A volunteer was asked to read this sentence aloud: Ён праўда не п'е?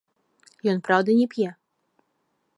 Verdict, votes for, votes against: rejected, 1, 2